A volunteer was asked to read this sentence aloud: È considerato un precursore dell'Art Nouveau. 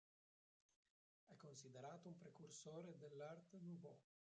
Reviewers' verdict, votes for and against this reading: rejected, 0, 2